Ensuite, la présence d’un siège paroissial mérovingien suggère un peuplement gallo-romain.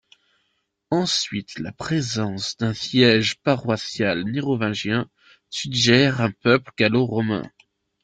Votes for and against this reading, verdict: 1, 2, rejected